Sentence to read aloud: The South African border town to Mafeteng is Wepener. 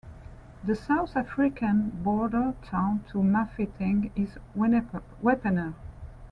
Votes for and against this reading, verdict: 0, 2, rejected